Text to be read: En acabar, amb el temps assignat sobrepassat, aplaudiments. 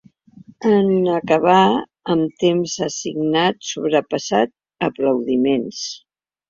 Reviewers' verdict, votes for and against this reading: rejected, 1, 3